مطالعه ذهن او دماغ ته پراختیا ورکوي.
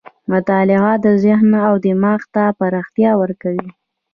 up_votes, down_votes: 1, 2